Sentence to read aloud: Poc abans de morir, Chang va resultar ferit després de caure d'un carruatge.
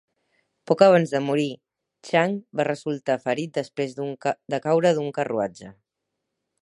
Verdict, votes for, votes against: rejected, 2, 4